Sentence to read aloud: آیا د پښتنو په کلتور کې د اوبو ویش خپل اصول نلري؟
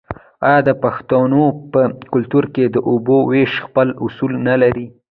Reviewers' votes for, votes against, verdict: 0, 2, rejected